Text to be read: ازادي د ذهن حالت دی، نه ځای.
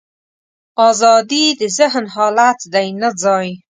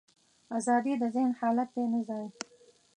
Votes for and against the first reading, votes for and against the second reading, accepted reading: 2, 0, 0, 2, first